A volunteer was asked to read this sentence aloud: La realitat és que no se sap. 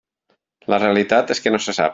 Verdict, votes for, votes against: accepted, 4, 0